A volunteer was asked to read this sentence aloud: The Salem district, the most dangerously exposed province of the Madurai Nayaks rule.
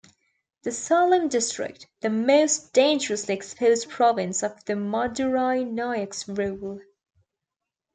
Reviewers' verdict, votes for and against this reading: accepted, 2, 0